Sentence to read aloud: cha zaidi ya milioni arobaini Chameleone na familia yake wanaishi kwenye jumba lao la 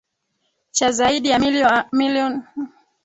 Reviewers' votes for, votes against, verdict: 1, 4, rejected